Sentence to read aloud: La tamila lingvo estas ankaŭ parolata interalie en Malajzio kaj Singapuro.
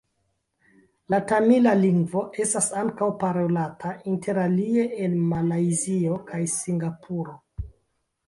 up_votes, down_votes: 1, 3